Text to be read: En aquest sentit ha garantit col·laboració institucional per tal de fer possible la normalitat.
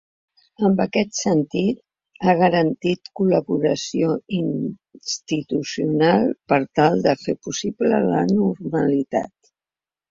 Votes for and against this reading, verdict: 1, 2, rejected